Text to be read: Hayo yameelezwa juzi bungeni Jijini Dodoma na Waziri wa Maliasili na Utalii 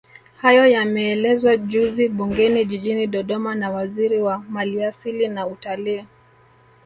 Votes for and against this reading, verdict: 1, 2, rejected